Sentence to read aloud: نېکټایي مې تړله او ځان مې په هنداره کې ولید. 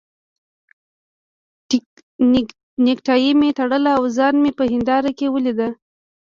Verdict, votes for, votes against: rejected, 1, 2